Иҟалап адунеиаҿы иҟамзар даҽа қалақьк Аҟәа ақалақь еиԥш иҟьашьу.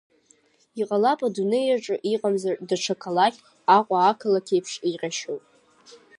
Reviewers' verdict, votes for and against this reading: rejected, 1, 2